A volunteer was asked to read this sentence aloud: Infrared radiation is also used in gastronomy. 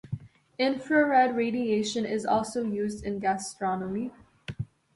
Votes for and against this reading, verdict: 2, 0, accepted